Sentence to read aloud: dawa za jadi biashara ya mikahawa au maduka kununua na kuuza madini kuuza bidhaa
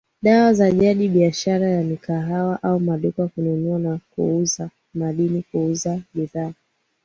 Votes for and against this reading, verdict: 2, 0, accepted